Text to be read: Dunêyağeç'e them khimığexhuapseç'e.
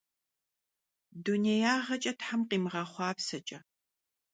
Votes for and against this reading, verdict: 2, 0, accepted